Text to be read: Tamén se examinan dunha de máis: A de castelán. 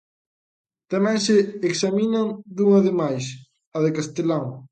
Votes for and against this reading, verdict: 1, 2, rejected